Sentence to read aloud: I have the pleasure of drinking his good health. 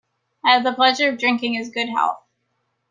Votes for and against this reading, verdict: 2, 0, accepted